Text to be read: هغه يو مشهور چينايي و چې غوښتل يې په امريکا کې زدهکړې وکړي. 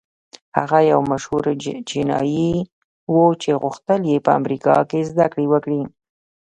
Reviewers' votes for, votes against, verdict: 1, 2, rejected